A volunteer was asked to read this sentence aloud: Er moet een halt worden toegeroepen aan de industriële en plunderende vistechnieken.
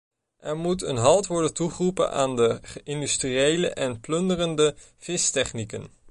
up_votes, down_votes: 0, 2